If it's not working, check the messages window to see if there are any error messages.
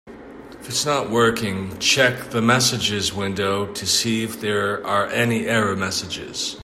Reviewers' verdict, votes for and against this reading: accepted, 2, 0